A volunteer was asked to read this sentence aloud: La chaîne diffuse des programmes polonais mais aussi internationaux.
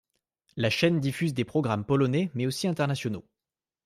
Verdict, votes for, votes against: accepted, 2, 0